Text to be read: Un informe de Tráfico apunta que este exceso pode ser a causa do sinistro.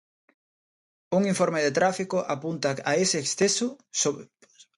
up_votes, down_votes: 0, 2